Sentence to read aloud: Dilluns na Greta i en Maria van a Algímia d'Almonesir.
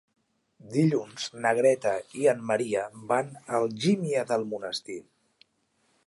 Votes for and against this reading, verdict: 1, 2, rejected